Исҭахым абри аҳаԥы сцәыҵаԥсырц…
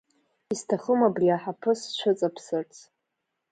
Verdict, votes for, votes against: accepted, 2, 1